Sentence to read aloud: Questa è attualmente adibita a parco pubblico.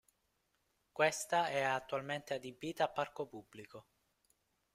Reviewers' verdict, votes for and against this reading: accepted, 2, 0